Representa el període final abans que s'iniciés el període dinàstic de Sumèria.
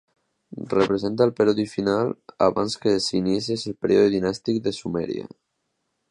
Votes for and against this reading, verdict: 0, 2, rejected